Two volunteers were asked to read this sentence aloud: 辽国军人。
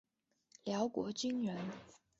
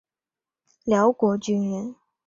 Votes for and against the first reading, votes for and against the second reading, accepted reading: 1, 2, 2, 0, second